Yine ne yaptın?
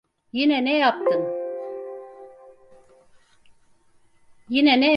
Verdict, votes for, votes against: rejected, 0, 4